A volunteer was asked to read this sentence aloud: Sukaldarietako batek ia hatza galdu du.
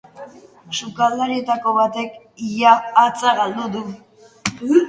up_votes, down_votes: 3, 1